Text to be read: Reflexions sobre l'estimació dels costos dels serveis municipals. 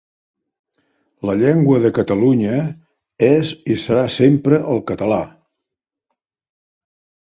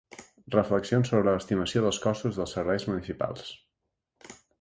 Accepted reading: second